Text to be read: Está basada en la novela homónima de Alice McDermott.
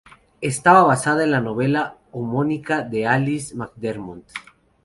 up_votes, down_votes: 0, 2